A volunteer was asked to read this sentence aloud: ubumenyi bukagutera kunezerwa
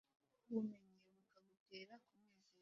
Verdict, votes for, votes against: rejected, 0, 2